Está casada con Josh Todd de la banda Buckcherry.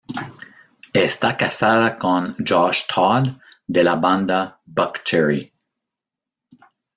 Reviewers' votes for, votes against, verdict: 2, 1, accepted